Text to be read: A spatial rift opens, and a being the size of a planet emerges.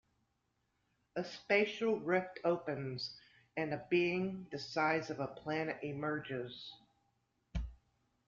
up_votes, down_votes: 2, 0